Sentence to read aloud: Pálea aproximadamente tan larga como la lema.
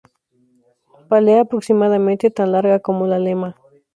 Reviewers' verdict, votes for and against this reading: accepted, 2, 0